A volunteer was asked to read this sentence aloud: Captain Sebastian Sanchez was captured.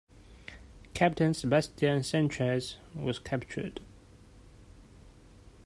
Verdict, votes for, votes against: accepted, 2, 0